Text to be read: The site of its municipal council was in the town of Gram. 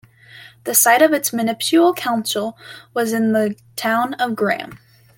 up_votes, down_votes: 0, 2